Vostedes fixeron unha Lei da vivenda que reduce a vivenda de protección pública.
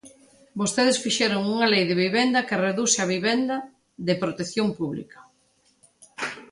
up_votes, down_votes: 0, 2